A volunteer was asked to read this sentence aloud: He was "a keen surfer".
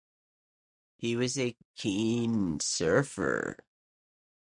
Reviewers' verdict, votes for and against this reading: accepted, 2, 0